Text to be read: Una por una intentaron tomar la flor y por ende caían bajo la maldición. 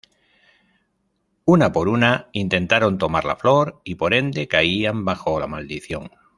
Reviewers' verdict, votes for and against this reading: accepted, 2, 0